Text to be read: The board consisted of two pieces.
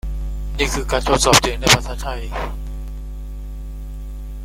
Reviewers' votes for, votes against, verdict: 1, 2, rejected